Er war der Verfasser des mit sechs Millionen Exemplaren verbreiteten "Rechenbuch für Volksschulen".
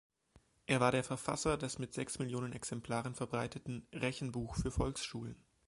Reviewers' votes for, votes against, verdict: 2, 0, accepted